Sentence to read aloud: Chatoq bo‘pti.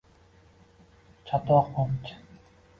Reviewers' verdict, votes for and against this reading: rejected, 1, 2